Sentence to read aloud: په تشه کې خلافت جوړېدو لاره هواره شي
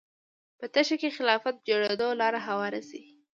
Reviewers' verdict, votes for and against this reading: rejected, 1, 2